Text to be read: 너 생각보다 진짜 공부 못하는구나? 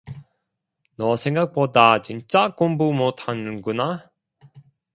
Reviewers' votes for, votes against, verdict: 2, 1, accepted